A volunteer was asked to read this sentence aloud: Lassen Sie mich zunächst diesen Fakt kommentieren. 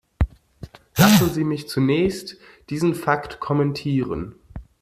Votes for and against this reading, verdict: 0, 2, rejected